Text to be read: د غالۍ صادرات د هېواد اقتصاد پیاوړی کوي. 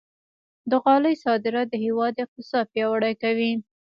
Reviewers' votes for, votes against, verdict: 3, 0, accepted